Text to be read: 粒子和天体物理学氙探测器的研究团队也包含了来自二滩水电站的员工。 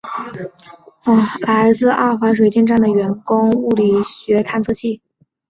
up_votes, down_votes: 1, 2